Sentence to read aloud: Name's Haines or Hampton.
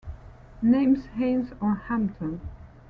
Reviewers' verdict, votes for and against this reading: accepted, 2, 0